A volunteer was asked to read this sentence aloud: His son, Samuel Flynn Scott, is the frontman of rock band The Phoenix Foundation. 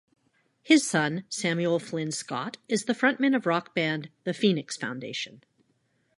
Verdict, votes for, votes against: rejected, 1, 2